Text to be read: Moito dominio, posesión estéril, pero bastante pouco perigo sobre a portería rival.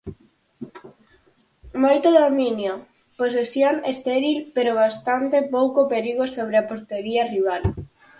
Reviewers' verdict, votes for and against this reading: accepted, 4, 0